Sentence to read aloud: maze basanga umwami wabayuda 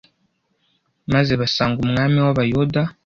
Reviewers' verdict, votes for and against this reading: accepted, 2, 0